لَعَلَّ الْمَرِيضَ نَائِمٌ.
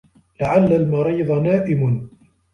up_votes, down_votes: 2, 0